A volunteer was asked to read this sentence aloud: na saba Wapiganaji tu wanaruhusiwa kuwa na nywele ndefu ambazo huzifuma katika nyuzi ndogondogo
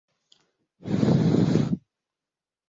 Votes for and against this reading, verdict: 0, 2, rejected